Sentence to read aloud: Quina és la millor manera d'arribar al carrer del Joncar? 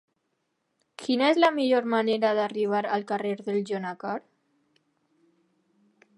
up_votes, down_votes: 0, 2